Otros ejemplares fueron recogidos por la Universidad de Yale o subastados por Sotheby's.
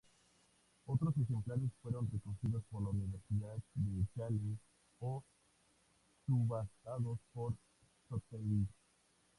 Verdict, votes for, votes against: rejected, 0, 4